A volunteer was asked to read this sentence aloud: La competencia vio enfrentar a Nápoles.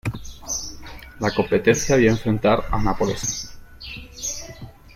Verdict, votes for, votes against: rejected, 0, 2